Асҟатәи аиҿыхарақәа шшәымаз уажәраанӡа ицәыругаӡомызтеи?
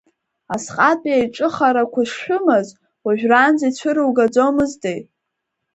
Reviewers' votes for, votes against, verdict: 0, 3, rejected